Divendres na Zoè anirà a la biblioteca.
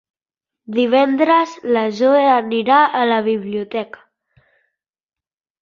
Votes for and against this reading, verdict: 1, 2, rejected